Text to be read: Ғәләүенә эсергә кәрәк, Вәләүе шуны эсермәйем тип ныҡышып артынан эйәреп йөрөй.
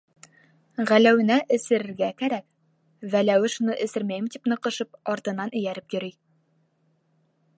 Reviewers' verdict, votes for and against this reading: rejected, 1, 2